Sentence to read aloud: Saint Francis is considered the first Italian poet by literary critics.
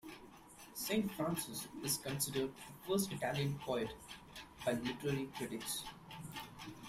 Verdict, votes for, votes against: accepted, 2, 0